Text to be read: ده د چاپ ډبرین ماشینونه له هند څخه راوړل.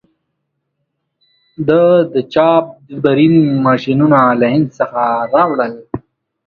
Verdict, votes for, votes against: accepted, 2, 0